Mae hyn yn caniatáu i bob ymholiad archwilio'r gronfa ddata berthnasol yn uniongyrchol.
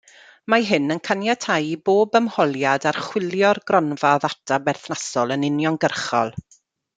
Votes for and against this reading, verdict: 2, 0, accepted